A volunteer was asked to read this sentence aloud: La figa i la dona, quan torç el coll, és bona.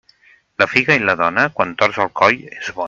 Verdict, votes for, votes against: rejected, 2, 4